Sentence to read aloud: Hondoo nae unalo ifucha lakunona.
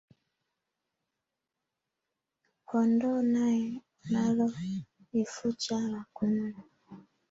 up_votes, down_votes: 1, 2